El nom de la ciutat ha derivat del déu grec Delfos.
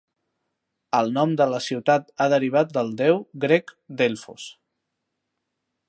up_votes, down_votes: 2, 0